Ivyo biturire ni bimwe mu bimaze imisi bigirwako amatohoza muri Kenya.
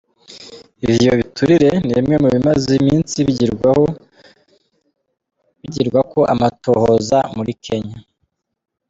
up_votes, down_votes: 0, 2